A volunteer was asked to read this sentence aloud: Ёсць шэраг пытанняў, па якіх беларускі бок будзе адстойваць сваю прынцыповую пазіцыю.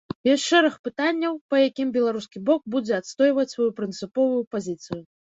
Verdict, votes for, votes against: rejected, 0, 2